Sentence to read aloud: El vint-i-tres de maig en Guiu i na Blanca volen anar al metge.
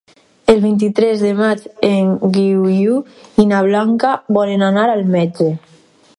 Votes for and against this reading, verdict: 2, 4, rejected